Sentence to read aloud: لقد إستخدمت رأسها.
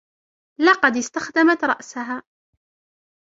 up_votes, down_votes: 1, 2